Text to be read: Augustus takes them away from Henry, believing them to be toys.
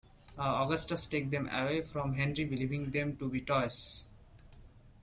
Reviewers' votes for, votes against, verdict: 2, 1, accepted